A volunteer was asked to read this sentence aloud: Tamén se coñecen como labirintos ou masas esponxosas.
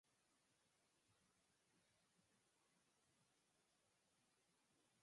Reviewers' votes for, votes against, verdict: 0, 4, rejected